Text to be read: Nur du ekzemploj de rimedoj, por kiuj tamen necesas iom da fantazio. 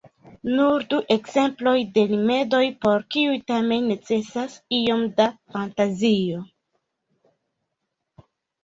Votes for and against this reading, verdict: 1, 2, rejected